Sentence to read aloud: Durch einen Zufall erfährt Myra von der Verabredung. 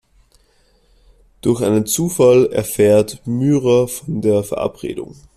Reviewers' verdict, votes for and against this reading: rejected, 1, 2